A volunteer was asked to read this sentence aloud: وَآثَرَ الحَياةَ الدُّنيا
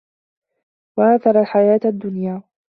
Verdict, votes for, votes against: accepted, 2, 0